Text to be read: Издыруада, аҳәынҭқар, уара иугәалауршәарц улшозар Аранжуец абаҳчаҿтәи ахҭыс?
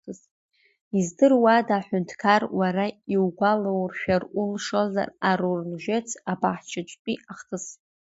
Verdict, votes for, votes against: rejected, 1, 2